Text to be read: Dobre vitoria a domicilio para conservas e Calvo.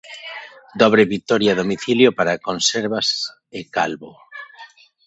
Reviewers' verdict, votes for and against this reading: rejected, 0, 2